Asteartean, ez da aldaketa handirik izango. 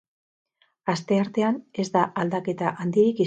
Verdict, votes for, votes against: rejected, 2, 4